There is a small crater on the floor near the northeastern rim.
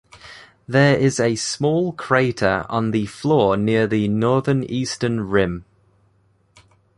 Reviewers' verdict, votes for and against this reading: rejected, 0, 2